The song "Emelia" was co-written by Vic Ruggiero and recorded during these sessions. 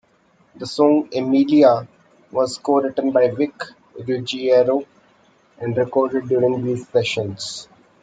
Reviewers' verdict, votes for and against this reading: accepted, 2, 1